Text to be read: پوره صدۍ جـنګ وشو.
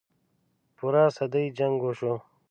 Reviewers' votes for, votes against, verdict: 3, 0, accepted